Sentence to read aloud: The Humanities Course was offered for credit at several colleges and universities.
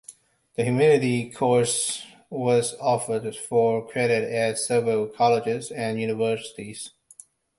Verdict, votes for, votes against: rejected, 0, 2